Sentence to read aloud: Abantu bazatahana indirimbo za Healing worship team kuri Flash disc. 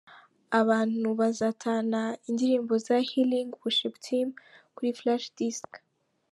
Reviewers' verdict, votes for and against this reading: accepted, 2, 0